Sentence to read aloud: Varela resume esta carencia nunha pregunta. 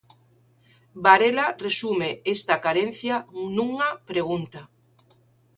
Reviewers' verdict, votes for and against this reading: accepted, 3, 0